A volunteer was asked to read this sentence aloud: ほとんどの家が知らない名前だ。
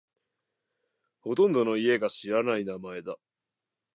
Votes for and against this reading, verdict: 2, 0, accepted